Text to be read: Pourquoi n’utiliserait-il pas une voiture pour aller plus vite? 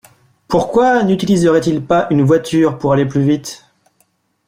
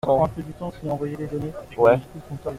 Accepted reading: first